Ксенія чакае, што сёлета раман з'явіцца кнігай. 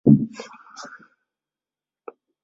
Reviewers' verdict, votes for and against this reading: rejected, 0, 2